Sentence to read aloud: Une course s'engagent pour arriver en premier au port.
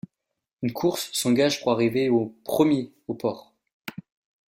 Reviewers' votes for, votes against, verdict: 0, 2, rejected